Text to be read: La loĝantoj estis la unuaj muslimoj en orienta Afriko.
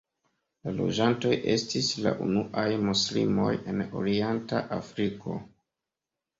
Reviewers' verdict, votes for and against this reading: accepted, 2, 0